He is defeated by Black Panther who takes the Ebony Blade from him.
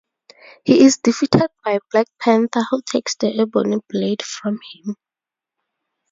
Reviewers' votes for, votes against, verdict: 2, 2, rejected